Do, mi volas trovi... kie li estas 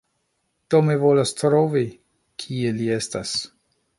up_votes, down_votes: 3, 0